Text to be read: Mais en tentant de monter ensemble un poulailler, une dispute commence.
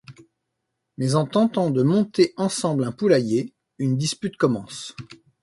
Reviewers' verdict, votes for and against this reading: accepted, 2, 1